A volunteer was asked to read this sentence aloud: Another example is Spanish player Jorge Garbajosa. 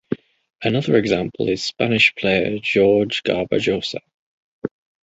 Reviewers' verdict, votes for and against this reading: rejected, 0, 2